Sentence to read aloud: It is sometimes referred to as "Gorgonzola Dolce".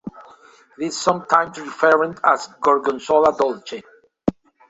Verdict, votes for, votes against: rejected, 0, 2